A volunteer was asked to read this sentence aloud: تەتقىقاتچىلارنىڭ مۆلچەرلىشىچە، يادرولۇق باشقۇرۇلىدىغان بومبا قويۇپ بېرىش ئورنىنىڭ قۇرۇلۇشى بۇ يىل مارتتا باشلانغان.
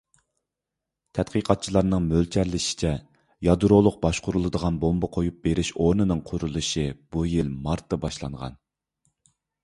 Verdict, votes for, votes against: accepted, 2, 0